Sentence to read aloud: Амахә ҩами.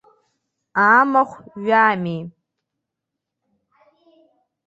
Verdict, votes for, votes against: accepted, 2, 0